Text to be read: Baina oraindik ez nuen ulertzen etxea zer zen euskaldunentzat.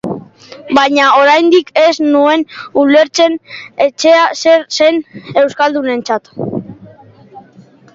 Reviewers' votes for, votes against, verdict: 0, 2, rejected